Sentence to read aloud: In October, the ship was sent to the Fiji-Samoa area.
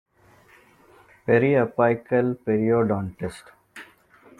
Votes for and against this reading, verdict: 0, 2, rejected